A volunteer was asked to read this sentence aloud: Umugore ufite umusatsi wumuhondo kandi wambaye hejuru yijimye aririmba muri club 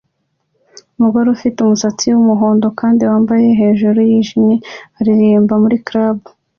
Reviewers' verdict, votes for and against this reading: accepted, 2, 0